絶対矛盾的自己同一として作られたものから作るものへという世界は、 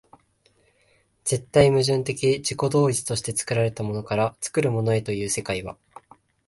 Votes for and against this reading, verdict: 2, 0, accepted